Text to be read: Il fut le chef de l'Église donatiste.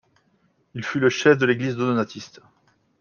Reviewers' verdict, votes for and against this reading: rejected, 0, 2